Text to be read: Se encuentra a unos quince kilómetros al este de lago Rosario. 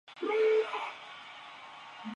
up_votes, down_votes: 0, 2